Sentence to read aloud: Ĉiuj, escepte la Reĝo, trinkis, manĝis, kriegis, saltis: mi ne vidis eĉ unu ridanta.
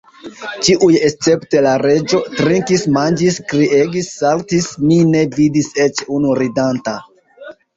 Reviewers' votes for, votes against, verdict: 0, 2, rejected